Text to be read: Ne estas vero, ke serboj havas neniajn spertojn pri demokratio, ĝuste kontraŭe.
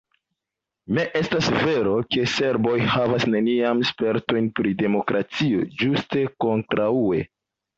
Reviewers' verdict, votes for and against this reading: accepted, 2, 1